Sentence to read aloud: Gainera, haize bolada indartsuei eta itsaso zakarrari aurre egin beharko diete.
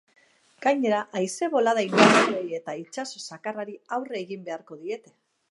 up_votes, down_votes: 2, 0